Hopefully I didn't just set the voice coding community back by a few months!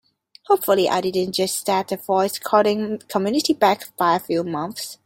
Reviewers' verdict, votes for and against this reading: accepted, 2, 1